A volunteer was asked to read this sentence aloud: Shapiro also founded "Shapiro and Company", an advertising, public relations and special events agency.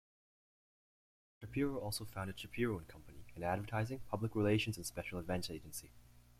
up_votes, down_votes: 2, 0